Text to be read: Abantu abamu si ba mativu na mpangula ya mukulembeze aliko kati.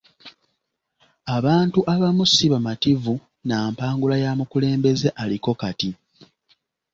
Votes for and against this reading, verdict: 2, 0, accepted